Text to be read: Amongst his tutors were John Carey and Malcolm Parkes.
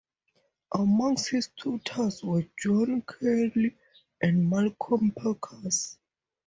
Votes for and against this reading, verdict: 0, 2, rejected